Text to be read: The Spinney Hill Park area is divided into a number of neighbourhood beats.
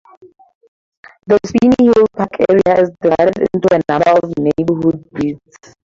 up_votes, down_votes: 2, 2